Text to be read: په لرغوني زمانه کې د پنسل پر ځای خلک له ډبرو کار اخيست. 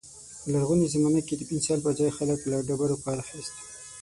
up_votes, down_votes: 3, 6